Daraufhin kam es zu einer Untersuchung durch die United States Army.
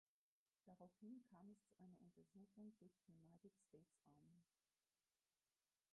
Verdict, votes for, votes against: rejected, 0, 4